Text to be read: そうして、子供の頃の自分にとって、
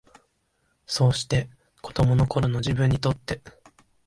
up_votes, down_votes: 2, 0